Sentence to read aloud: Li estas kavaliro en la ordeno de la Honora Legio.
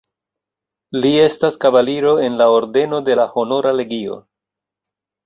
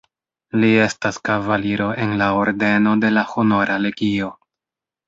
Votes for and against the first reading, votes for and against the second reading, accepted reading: 2, 0, 1, 2, first